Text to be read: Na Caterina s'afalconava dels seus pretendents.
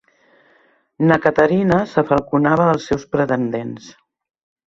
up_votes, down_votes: 1, 2